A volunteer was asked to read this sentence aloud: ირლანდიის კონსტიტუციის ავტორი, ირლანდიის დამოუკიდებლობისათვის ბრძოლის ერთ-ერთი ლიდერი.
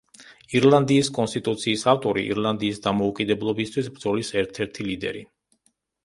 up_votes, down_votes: 2, 1